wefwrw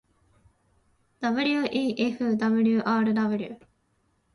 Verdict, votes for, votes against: accepted, 2, 0